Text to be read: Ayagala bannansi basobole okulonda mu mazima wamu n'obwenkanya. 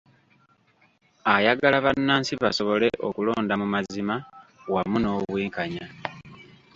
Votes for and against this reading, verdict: 2, 0, accepted